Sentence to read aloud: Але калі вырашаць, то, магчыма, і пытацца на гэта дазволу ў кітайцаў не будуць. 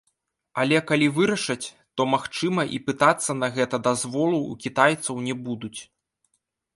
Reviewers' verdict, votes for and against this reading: rejected, 0, 3